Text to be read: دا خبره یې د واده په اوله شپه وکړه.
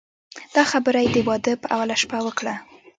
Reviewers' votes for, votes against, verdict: 2, 0, accepted